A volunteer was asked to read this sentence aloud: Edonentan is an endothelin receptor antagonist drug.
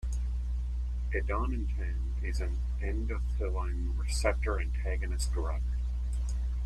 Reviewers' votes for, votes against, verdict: 0, 2, rejected